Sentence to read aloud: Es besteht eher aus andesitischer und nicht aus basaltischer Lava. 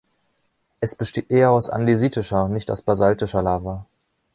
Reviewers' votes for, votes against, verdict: 1, 2, rejected